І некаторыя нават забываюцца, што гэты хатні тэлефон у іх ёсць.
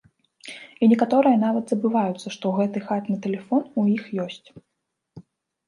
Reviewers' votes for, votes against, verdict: 2, 0, accepted